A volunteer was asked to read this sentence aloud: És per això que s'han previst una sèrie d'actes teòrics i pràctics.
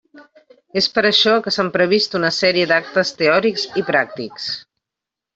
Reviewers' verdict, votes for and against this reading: accepted, 2, 0